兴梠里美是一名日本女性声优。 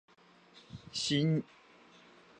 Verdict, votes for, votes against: rejected, 0, 3